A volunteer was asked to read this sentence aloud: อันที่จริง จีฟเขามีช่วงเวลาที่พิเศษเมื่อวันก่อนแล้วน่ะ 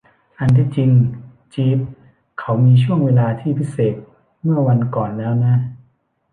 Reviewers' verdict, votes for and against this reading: rejected, 0, 2